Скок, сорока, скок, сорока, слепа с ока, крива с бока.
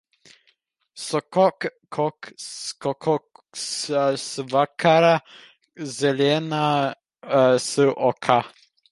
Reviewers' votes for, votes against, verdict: 1, 2, rejected